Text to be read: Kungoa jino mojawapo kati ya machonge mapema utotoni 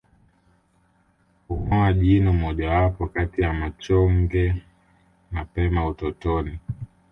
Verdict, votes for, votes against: accepted, 2, 0